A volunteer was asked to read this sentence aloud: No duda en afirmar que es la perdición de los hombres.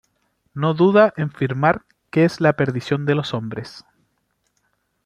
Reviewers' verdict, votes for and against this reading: rejected, 0, 2